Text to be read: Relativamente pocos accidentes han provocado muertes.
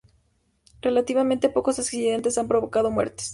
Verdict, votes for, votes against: accepted, 2, 0